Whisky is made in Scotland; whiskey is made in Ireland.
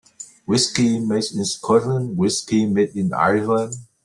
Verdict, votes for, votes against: rejected, 0, 2